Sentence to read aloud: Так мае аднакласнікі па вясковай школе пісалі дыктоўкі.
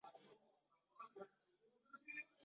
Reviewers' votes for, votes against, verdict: 0, 2, rejected